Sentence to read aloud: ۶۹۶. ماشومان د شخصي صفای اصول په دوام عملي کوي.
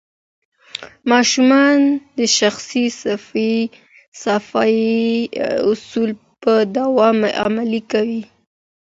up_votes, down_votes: 0, 2